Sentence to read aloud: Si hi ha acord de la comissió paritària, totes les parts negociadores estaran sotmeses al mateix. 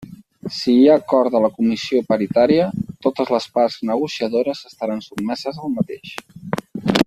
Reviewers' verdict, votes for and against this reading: accepted, 4, 0